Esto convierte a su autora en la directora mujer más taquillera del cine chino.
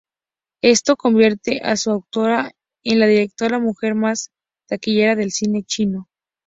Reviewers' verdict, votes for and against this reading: accepted, 2, 0